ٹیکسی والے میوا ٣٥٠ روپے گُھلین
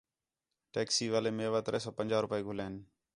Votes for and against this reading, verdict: 0, 2, rejected